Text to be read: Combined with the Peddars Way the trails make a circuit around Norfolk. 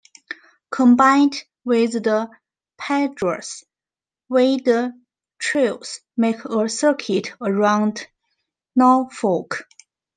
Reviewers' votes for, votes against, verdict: 1, 2, rejected